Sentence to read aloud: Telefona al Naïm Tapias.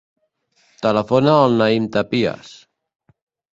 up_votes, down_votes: 0, 2